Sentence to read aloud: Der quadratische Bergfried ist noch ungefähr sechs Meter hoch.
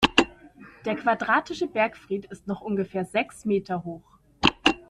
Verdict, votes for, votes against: accepted, 2, 0